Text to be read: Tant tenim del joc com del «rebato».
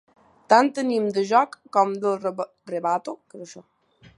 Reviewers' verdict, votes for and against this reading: accepted, 2, 0